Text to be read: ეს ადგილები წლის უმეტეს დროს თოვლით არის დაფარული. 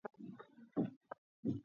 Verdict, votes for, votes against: accepted, 2, 1